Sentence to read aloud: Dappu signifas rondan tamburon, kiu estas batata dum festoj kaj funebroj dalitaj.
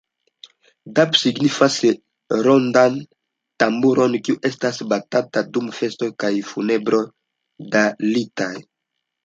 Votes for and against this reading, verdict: 2, 0, accepted